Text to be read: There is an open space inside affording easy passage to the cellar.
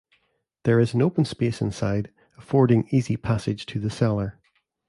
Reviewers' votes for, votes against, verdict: 2, 0, accepted